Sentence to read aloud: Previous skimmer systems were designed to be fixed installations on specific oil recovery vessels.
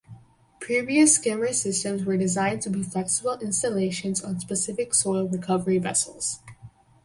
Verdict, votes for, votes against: rejected, 0, 4